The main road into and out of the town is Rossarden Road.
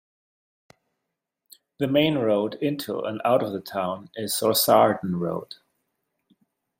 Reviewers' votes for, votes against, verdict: 2, 0, accepted